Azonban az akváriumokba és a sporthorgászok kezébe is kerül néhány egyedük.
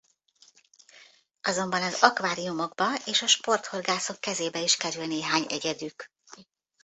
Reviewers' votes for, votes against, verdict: 2, 0, accepted